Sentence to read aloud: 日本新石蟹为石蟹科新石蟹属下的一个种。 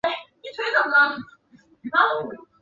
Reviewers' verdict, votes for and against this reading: rejected, 3, 4